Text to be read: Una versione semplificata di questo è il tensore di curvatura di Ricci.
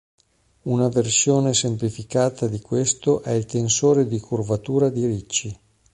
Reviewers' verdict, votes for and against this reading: accepted, 2, 0